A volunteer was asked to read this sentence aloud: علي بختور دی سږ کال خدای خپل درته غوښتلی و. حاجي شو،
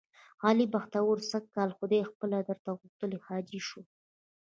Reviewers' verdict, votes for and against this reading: rejected, 1, 2